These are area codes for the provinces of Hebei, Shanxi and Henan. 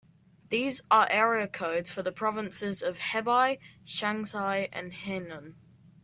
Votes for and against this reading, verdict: 2, 0, accepted